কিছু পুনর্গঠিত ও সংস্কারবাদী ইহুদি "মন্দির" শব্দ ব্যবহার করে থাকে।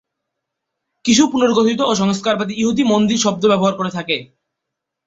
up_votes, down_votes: 1, 2